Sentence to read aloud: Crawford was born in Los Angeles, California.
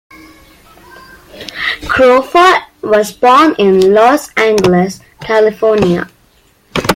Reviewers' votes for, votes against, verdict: 2, 1, accepted